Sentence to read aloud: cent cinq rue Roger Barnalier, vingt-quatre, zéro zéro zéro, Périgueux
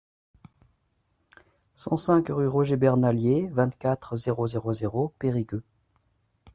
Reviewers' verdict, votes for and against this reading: accepted, 2, 1